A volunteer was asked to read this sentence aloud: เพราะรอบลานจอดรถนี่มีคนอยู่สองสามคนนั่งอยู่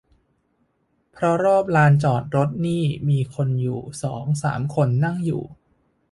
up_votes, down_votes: 2, 0